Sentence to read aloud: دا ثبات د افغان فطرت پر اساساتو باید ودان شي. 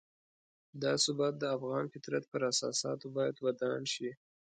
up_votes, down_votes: 2, 0